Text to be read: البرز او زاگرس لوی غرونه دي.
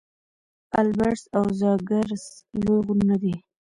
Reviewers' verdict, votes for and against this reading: rejected, 0, 2